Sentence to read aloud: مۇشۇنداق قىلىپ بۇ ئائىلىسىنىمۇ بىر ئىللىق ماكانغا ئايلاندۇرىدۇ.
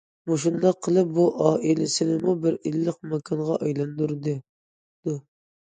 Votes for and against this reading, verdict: 0, 2, rejected